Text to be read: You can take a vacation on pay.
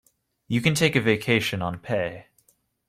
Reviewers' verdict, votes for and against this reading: accepted, 2, 0